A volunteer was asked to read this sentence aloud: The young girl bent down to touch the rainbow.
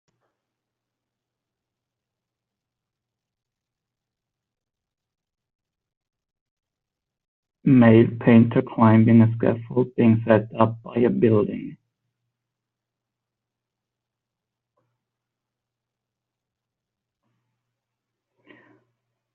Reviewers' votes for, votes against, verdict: 0, 2, rejected